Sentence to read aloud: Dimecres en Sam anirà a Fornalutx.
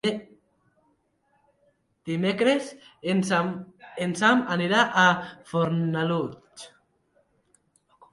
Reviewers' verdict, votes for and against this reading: rejected, 0, 3